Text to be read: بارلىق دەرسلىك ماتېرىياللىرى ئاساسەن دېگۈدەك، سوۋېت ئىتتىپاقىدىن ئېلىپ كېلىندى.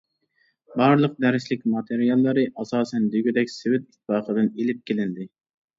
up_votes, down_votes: 2, 0